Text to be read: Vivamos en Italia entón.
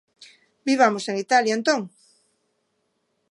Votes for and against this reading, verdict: 2, 0, accepted